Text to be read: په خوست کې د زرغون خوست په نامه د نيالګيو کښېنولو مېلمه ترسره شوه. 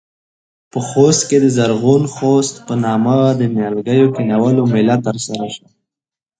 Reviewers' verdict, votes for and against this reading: accepted, 2, 0